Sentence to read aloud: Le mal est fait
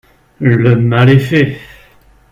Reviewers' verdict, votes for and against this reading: accepted, 4, 0